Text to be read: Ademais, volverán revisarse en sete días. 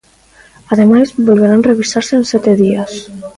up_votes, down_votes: 2, 0